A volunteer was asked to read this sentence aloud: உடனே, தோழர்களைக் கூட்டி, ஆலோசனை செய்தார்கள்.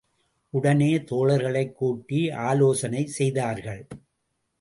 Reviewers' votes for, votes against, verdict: 2, 0, accepted